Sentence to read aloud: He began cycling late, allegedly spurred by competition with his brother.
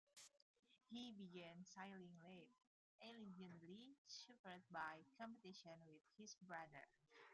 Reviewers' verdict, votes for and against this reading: rejected, 0, 2